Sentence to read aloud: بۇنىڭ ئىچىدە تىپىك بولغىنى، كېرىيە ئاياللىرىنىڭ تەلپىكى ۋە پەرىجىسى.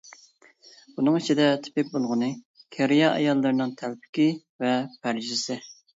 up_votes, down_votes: 2, 0